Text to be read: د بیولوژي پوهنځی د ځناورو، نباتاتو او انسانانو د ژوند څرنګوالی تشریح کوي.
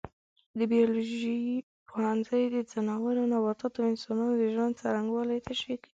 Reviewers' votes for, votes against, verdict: 1, 2, rejected